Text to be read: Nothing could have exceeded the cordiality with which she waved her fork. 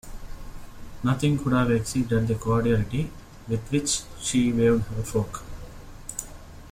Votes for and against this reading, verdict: 1, 2, rejected